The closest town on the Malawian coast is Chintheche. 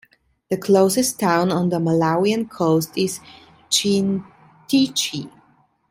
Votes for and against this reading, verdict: 2, 0, accepted